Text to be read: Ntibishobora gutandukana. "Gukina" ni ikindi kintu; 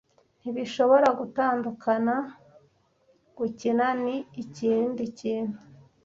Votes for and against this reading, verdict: 2, 3, rejected